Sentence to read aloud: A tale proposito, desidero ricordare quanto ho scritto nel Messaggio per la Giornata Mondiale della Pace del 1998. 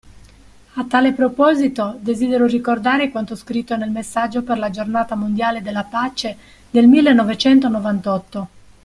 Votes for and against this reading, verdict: 0, 2, rejected